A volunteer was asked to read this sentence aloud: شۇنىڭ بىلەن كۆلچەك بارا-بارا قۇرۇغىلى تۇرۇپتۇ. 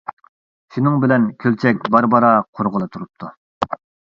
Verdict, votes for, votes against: accepted, 2, 0